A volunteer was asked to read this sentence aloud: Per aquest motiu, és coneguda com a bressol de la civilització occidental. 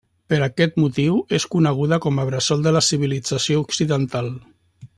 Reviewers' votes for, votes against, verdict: 2, 0, accepted